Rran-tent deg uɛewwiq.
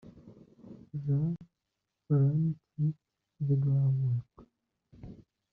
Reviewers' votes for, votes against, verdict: 1, 2, rejected